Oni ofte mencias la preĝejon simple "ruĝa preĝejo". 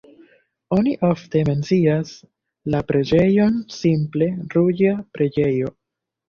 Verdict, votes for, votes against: accepted, 2, 0